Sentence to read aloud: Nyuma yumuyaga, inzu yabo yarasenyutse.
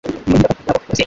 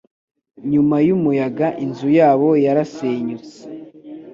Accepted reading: second